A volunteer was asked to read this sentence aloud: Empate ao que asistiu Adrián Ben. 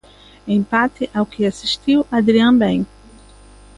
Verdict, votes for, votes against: accepted, 2, 0